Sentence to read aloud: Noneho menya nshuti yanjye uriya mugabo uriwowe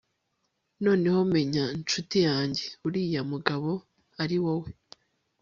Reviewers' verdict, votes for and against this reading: accepted, 3, 0